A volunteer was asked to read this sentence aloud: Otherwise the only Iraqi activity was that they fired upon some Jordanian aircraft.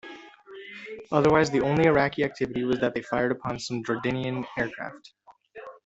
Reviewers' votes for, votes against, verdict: 0, 2, rejected